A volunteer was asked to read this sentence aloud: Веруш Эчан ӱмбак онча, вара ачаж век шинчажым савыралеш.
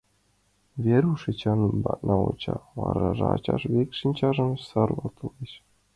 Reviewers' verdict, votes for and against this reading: rejected, 0, 2